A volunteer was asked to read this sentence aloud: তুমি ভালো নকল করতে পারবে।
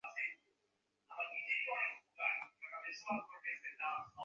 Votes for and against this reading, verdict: 0, 2, rejected